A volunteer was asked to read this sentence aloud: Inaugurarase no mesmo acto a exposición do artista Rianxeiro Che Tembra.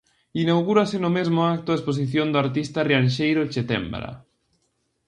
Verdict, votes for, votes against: rejected, 0, 2